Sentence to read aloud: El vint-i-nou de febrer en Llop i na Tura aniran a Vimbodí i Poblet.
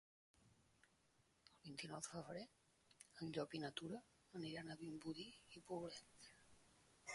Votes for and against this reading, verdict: 1, 3, rejected